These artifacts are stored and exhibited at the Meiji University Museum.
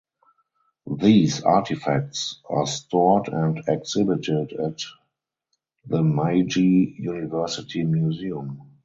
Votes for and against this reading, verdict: 2, 4, rejected